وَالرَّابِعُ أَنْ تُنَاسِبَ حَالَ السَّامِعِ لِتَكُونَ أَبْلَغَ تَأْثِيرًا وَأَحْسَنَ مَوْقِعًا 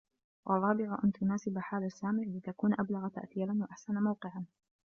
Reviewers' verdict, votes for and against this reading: accepted, 2, 0